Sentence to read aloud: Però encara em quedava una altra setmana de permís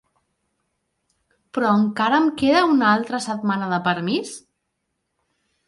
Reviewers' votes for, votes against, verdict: 0, 2, rejected